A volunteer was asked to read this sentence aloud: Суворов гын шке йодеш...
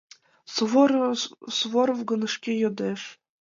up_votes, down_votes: 1, 2